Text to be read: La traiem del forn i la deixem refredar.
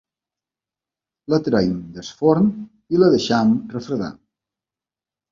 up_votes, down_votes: 1, 2